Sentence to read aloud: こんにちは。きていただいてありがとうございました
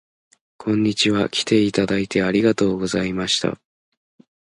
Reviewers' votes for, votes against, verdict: 2, 0, accepted